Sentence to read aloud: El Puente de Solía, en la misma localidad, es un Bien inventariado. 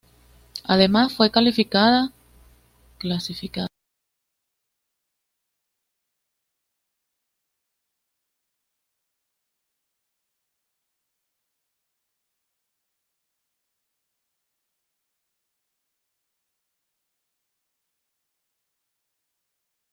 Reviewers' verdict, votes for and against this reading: rejected, 1, 2